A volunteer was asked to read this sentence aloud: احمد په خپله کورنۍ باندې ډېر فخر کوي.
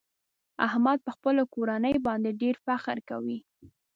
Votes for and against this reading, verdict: 2, 0, accepted